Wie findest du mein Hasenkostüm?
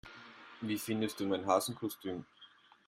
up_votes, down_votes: 2, 0